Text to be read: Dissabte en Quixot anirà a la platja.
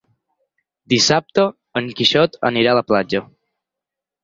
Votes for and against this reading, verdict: 6, 0, accepted